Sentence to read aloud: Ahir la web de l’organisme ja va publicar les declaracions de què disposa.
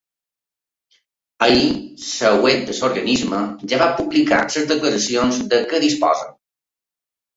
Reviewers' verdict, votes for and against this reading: rejected, 0, 2